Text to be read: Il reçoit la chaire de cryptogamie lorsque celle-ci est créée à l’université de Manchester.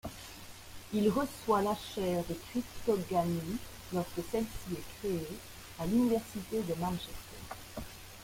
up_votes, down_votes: 0, 2